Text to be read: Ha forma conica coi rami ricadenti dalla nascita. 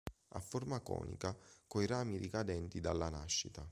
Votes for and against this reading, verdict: 3, 0, accepted